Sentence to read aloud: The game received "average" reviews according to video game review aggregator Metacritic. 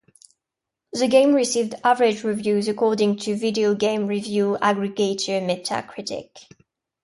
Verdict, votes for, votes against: accepted, 2, 0